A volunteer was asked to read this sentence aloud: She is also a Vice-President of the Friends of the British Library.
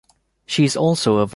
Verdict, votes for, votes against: rejected, 0, 3